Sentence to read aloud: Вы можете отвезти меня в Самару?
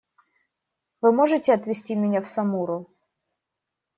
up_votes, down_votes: 0, 2